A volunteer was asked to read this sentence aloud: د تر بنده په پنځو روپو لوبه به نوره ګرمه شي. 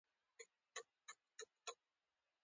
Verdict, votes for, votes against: accepted, 2, 0